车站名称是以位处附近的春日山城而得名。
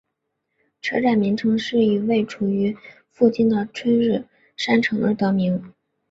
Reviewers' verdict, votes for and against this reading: accepted, 3, 0